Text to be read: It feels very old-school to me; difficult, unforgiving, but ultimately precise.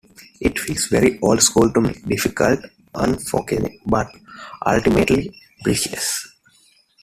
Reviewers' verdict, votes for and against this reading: rejected, 0, 2